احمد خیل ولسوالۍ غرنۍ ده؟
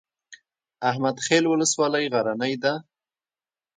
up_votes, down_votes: 1, 2